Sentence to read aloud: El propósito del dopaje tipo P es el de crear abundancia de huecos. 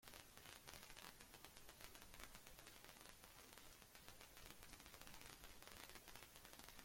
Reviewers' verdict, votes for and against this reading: rejected, 0, 2